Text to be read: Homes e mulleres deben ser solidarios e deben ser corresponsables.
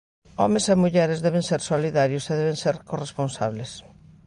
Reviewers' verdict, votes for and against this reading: accepted, 2, 0